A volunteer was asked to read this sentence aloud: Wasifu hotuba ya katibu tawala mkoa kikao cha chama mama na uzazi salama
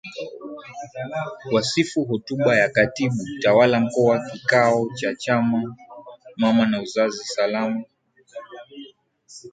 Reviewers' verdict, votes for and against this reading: accepted, 2, 0